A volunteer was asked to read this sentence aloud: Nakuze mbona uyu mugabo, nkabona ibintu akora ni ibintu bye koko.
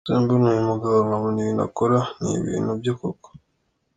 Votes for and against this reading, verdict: 2, 1, accepted